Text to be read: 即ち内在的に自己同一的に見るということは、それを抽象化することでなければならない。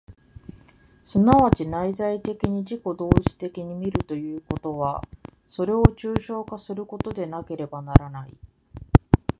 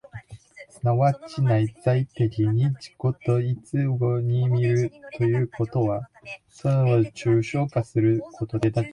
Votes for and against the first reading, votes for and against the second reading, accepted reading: 2, 0, 0, 2, first